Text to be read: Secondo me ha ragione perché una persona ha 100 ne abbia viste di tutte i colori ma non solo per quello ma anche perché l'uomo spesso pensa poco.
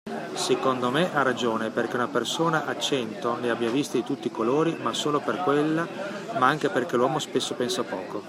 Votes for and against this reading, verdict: 0, 2, rejected